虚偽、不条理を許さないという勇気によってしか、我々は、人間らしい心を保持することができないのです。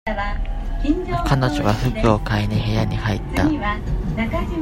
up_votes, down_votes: 0, 2